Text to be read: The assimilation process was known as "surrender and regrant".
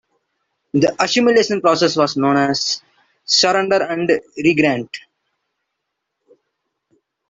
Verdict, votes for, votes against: accepted, 2, 0